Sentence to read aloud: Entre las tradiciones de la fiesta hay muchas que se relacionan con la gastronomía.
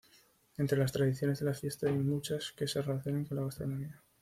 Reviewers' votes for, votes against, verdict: 2, 0, accepted